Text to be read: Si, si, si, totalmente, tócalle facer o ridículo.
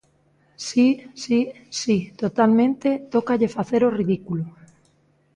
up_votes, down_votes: 2, 0